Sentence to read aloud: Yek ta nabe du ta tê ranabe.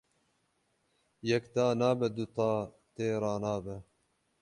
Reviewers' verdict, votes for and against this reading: accepted, 12, 0